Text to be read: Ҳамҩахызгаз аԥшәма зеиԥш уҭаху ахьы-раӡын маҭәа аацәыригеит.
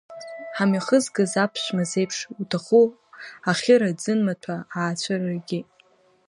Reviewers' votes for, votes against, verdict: 2, 0, accepted